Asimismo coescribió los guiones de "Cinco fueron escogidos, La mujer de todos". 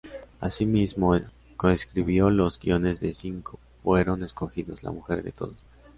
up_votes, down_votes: 0, 2